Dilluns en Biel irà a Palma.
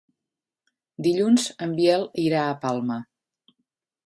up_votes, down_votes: 3, 0